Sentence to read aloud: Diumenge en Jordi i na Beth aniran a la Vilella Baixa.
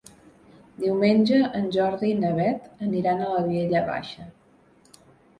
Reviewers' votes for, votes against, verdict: 1, 2, rejected